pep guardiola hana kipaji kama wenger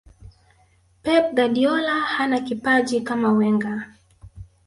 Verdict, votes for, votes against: rejected, 0, 2